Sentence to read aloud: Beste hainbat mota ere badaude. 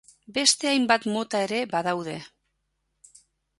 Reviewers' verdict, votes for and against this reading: accepted, 5, 0